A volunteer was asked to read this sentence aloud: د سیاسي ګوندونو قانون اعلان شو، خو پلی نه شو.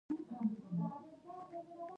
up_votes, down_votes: 0, 2